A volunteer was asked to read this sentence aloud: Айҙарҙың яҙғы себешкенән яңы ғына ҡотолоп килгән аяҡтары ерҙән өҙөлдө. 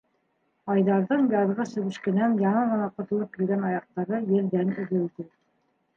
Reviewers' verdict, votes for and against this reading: rejected, 1, 2